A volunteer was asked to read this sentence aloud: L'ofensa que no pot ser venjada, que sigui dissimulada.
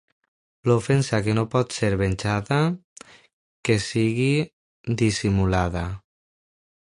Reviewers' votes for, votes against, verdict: 3, 1, accepted